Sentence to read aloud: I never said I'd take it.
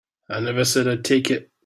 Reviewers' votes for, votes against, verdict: 2, 0, accepted